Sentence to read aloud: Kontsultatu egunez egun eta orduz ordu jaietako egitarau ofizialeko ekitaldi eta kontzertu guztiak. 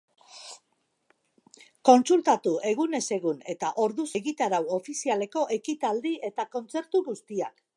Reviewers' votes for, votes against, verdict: 1, 2, rejected